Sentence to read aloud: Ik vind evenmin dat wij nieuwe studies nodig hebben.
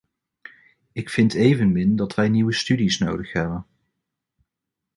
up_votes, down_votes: 2, 0